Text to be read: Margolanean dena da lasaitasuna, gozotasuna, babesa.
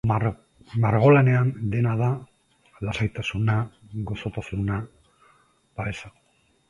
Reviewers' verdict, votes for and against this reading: rejected, 0, 2